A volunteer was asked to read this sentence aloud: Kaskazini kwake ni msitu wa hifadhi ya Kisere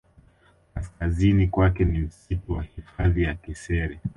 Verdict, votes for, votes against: accepted, 3, 1